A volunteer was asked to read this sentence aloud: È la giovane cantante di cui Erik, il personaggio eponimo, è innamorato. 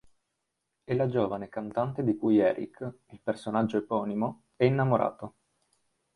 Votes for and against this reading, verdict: 2, 0, accepted